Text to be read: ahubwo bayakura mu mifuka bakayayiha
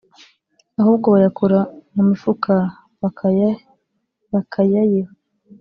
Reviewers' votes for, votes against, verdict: 0, 2, rejected